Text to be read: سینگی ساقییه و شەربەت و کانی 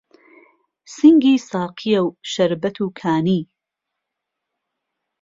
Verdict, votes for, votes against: accepted, 2, 0